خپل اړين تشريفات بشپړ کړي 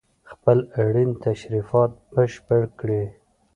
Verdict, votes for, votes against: accepted, 2, 0